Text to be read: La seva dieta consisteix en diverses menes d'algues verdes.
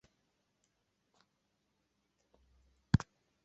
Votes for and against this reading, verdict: 0, 2, rejected